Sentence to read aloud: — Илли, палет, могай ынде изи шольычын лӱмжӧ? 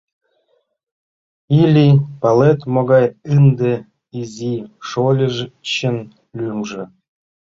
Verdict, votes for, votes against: rejected, 1, 2